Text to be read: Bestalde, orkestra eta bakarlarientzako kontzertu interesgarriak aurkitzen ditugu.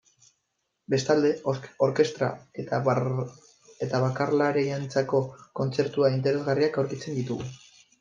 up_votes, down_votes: 1, 2